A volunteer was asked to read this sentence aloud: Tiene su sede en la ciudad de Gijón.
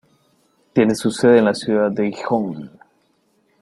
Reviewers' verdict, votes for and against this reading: rejected, 1, 2